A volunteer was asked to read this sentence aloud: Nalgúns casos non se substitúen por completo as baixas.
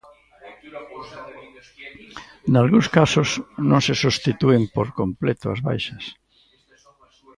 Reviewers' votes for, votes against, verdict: 1, 2, rejected